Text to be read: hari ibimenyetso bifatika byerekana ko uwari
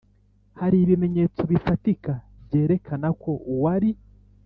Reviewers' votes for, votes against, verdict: 2, 0, accepted